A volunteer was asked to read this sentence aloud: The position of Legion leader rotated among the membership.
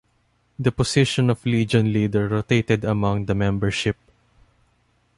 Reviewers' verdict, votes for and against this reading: accepted, 2, 0